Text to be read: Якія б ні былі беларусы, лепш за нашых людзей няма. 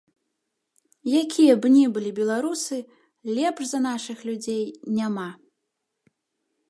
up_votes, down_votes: 2, 1